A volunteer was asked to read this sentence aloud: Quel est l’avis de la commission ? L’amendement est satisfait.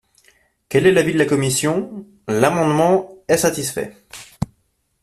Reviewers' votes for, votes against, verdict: 2, 0, accepted